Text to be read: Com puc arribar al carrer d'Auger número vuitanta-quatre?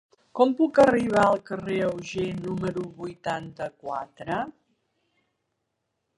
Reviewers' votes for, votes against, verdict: 1, 2, rejected